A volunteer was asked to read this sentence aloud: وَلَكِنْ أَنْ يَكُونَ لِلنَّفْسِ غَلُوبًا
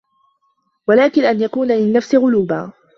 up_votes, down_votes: 2, 0